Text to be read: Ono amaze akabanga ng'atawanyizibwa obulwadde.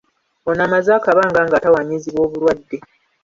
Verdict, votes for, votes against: accepted, 3, 0